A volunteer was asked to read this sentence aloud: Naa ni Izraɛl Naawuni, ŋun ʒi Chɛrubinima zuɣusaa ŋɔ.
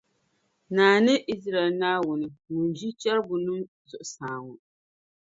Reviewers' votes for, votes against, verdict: 1, 2, rejected